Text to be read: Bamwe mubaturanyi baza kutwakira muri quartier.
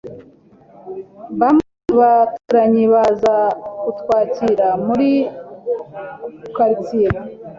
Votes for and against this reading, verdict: 2, 0, accepted